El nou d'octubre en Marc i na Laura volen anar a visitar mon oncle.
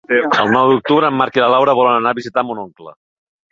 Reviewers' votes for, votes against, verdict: 0, 3, rejected